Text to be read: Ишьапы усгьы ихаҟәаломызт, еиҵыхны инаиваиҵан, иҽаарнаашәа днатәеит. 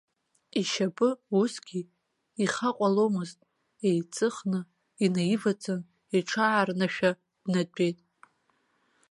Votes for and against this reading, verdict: 1, 2, rejected